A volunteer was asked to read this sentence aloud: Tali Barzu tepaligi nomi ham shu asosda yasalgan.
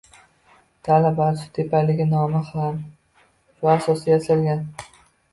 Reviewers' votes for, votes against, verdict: 0, 2, rejected